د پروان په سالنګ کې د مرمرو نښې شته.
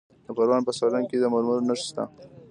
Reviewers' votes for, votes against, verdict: 2, 0, accepted